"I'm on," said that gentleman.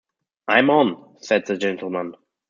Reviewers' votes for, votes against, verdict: 0, 2, rejected